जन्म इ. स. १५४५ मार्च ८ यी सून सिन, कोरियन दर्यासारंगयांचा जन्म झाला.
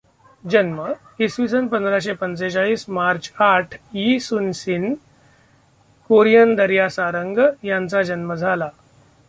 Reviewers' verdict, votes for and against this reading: rejected, 0, 2